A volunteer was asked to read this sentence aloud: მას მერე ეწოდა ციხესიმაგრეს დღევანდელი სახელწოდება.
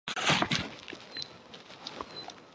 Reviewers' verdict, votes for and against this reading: rejected, 0, 2